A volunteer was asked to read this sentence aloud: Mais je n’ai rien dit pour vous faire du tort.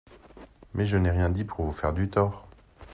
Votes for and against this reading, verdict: 2, 0, accepted